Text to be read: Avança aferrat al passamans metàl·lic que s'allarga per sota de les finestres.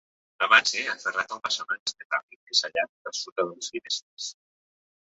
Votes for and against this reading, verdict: 0, 2, rejected